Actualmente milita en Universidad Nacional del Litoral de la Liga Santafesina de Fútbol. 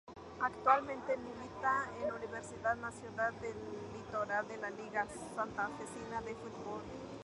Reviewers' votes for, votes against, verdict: 2, 0, accepted